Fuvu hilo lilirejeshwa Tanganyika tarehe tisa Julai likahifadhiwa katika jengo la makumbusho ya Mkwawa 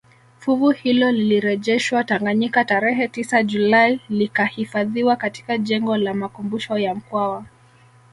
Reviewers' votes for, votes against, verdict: 2, 0, accepted